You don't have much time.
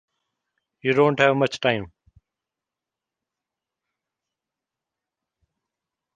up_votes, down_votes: 2, 0